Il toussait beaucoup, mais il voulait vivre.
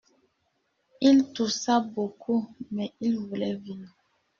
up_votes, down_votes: 1, 2